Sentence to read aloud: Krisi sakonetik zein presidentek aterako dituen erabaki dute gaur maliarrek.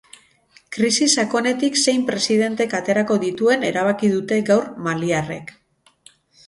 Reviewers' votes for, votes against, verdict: 12, 0, accepted